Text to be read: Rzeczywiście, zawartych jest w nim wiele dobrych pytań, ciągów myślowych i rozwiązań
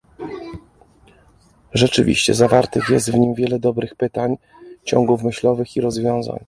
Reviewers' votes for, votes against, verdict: 2, 0, accepted